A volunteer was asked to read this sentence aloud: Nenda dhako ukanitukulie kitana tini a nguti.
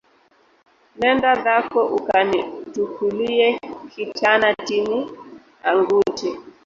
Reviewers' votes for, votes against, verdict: 1, 3, rejected